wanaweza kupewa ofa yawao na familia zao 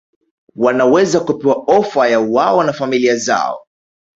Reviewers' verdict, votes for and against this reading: accepted, 2, 0